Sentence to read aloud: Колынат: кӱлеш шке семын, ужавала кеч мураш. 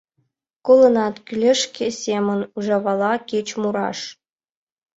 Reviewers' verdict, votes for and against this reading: accepted, 2, 0